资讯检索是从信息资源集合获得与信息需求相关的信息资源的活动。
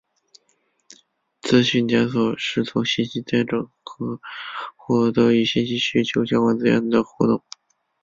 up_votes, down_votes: 4, 5